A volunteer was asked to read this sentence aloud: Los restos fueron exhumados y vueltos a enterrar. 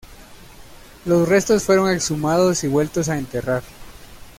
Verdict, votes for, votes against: accepted, 2, 0